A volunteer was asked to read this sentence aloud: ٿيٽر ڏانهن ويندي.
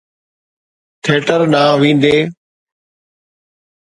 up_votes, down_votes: 2, 0